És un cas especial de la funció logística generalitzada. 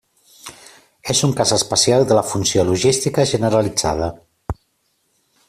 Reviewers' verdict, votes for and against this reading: accepted, 3, 0